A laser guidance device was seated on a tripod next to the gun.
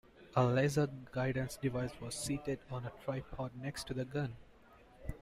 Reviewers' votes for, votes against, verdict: 2, 0, accepted